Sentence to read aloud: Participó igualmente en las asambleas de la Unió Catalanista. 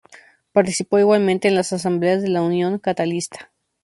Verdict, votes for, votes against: rejected, 0, 2